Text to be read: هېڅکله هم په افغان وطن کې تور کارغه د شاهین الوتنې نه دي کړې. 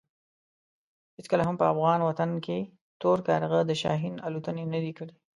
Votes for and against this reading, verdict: 2, 1, accepted